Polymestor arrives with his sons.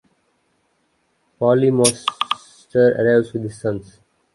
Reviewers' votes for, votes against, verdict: 0, 3, rejected